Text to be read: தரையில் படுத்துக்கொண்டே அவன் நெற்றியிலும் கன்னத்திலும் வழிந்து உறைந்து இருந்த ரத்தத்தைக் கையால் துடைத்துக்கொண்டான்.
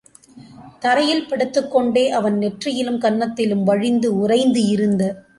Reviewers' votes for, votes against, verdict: 0, 2, rejected